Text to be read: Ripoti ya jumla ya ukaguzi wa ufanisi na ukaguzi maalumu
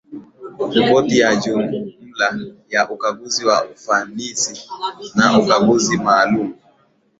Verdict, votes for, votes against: accepted, 2, 0